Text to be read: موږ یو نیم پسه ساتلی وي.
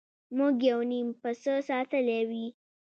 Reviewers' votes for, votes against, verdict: 2, 0, accepted